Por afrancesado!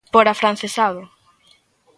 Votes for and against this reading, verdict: 2, 0, accepted